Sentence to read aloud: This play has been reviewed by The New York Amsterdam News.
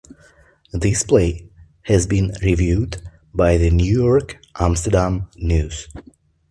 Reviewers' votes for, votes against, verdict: 2, 0, accepted